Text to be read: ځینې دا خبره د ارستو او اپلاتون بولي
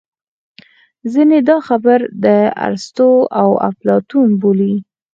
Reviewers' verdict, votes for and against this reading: rejected, 2, 4